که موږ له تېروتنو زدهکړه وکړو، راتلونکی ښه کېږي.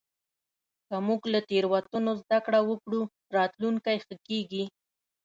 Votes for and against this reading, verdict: 2, 0, accepted